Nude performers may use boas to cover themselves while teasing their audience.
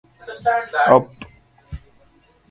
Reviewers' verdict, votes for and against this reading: rejected, 0, 2